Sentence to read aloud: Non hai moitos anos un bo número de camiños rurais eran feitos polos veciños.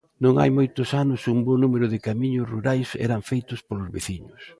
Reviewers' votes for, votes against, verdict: 2, 0, accepted